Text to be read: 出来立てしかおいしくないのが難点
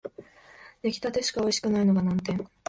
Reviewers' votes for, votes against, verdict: 4, 0, accepted